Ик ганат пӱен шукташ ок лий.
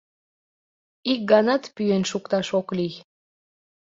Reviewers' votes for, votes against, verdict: 2, 0, accepted